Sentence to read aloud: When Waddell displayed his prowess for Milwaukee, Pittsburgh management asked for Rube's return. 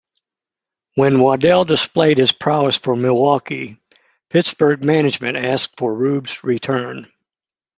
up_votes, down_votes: 2, 0